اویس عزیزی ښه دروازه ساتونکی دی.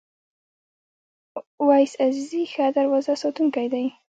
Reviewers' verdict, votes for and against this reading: rejected, 1, 2